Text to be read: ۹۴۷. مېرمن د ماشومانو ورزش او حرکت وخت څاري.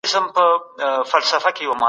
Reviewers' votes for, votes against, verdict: 0, 2, rejected